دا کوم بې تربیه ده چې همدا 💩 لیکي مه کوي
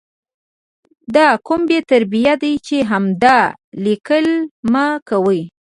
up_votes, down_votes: 2, 1